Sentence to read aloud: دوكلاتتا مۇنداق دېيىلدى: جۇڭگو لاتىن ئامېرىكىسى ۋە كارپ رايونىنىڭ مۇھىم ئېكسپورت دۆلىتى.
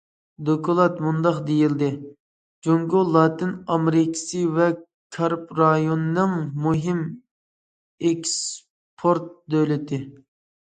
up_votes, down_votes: 0, 2